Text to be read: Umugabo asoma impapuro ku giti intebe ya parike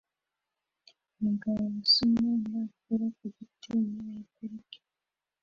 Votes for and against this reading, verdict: 0, 2, rejected